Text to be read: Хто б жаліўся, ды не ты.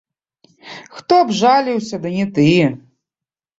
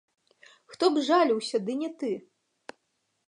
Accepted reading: second